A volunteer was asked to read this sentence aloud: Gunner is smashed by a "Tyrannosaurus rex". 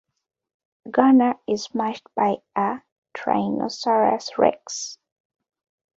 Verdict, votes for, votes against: rejected, 1, 2